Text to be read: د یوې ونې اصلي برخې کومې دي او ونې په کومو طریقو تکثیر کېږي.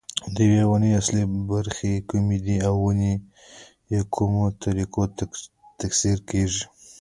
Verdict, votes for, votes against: rejected, 1, 2